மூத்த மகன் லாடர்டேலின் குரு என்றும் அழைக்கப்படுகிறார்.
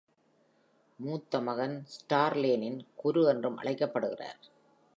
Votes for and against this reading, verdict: 1, 2, rejected